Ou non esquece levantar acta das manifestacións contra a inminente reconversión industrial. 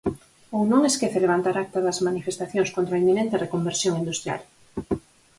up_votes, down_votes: 4, 0